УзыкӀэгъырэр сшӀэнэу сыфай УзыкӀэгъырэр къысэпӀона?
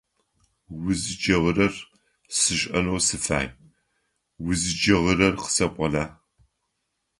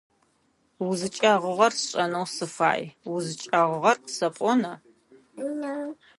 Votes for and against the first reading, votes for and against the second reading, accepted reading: 2, 0, 0, 2, first